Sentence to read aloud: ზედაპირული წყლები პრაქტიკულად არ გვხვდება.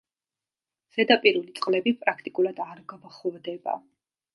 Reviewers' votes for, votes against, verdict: 2, 0, accepted